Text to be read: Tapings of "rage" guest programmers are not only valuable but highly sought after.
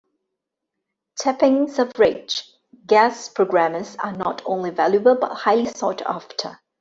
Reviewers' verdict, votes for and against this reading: rejected, 1, 2